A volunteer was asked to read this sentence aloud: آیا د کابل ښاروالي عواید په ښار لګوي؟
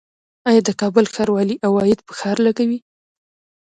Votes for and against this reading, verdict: 2, 0, accepted